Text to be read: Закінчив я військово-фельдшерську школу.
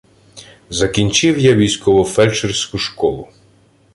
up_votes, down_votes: 2, 0